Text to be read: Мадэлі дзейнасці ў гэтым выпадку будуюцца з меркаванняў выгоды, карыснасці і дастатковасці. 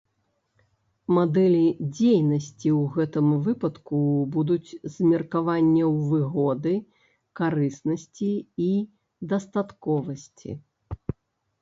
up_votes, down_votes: 1, 2